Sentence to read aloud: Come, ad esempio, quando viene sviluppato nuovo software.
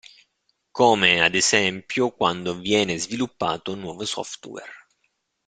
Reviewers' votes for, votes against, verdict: 2, 0, accepted